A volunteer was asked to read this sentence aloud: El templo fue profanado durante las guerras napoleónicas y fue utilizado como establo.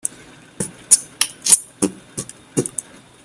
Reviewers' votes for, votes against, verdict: 0, 2, rejected